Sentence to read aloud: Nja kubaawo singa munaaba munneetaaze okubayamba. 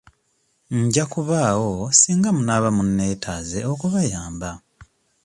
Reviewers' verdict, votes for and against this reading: accepted, 2, 0